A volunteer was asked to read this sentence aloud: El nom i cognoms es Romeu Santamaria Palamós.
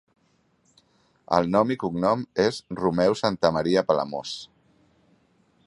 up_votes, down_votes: 0, 3